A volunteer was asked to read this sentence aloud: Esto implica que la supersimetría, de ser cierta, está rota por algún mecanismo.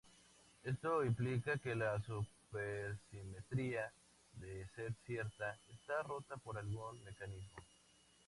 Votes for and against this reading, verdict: 2, 0, accepted